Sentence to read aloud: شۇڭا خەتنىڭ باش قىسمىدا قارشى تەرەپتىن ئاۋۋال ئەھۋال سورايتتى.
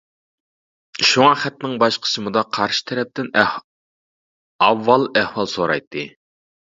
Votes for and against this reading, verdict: 0, 2, rejected